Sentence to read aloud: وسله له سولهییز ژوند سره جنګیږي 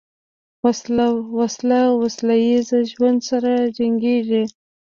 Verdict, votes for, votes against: rejected, 0, 2